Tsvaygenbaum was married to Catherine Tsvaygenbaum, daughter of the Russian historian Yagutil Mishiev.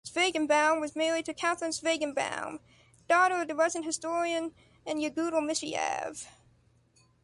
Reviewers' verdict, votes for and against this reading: accepted, 2, 1